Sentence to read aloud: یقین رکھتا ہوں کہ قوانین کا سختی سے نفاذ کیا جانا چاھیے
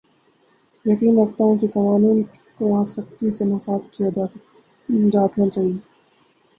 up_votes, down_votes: 0, 2